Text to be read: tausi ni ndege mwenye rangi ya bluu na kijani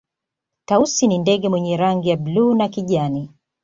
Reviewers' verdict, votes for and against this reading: accepted, 2, 1